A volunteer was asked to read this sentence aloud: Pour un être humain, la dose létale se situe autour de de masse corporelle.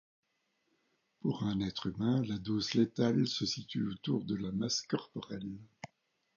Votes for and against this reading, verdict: 0, 2, rejected